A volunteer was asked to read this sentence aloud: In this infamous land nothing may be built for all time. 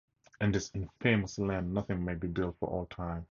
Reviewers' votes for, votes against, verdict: 4, 0, accepted